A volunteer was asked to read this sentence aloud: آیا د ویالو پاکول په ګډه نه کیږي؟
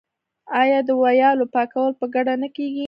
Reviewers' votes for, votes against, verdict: 1, 2, rejected